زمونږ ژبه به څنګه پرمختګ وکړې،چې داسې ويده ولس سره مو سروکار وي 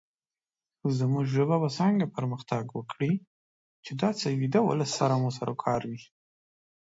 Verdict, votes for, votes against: accepted, 2, 0